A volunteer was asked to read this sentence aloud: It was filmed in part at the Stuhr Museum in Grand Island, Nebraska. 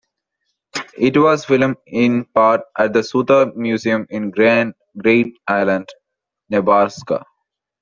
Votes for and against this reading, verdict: 2, 1, accepted